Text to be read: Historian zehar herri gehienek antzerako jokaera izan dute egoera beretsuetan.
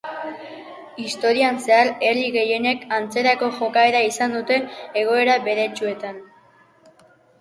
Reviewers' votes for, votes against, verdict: 2, 3, rejected